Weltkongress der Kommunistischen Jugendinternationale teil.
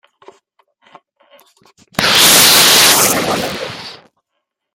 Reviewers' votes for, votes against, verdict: 0, 2, rejected